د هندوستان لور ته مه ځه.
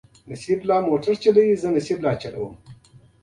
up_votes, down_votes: 2, 0